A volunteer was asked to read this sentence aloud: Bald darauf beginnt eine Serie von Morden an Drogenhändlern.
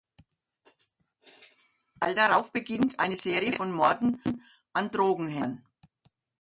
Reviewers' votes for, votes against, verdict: 0, 2, rejected